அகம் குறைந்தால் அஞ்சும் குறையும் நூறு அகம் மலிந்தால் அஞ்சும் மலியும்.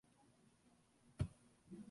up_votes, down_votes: 0, 2